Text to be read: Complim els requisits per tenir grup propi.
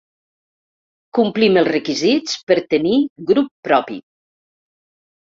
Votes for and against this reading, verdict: 3, 0, accepted